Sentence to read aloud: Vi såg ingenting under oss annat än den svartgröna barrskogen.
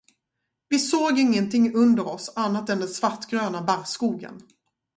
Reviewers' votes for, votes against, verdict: 2, 0, accepted